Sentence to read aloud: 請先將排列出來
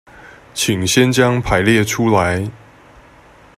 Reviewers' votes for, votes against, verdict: 2, 0, accepted